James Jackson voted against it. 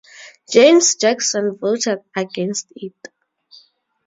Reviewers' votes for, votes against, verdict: 4, 0, accepted